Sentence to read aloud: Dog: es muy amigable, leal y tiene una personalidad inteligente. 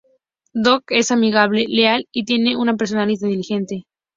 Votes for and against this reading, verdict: 0, 2, rejected